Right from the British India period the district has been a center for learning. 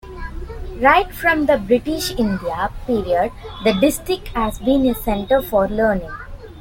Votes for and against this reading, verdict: 2, 0, accepted